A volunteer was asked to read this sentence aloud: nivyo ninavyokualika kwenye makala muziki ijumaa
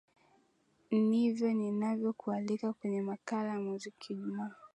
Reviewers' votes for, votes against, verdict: 2, 0, accepted